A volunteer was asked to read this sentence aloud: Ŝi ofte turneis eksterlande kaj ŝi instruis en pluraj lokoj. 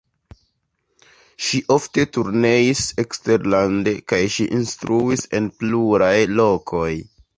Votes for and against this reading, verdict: 2, 0, accepted